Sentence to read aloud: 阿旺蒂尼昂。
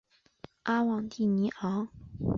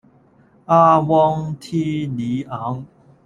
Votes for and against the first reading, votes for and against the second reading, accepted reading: 2, 0, 1, 2, first